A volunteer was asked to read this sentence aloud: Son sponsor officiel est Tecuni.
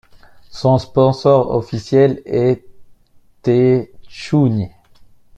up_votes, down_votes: 1, 2